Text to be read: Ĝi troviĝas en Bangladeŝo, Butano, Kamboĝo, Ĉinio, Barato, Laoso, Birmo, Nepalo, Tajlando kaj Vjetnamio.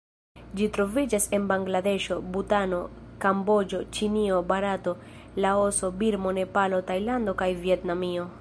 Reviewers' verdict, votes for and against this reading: accepted, 2, 0